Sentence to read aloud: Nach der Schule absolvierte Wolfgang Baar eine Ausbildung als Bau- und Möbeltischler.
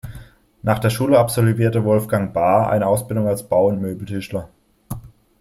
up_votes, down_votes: 2, 0